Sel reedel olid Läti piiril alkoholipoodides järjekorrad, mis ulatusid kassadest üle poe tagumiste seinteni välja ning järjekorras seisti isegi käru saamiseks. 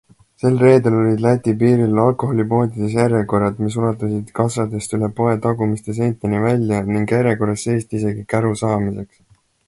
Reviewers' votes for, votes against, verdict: 2, 0, accepted